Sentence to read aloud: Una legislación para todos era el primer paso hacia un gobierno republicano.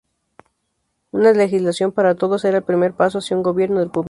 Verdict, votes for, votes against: rejected, 0, 2